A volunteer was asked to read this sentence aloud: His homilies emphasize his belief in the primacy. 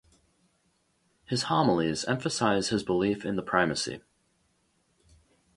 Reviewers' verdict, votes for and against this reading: accepted, 2, 0